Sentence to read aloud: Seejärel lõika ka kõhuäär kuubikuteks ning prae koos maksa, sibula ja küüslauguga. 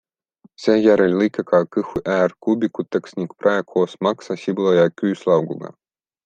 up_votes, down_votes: 2, 0